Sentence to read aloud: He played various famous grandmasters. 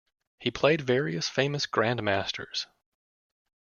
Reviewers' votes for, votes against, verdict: 2, 0, accepted